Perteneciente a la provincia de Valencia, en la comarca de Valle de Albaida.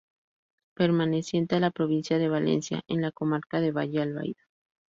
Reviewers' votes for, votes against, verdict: 0, 2, rejected